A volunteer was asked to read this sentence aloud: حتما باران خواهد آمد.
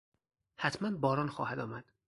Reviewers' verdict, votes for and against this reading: accepted, 4, 0